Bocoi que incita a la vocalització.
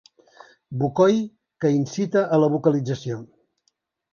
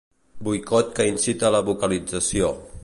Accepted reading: first